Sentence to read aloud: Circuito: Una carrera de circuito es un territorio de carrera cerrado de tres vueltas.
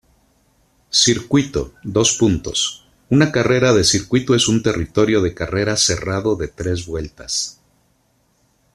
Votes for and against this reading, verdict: 2, 1, accepted